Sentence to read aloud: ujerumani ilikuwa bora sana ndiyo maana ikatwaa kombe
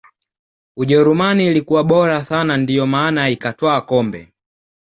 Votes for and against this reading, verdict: 2, 0, accepted